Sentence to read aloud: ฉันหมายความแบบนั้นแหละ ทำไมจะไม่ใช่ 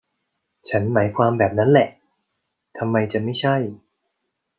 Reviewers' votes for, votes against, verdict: 2, 0, accepted